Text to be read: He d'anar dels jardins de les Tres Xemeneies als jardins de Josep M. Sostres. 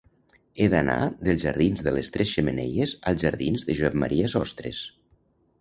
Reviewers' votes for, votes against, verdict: 1, 2, rejected